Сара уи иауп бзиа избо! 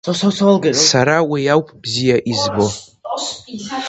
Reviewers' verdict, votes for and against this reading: rejected, 1, 2